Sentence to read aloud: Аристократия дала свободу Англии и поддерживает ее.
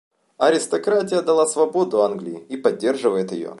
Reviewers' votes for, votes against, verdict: 2, 0, accepted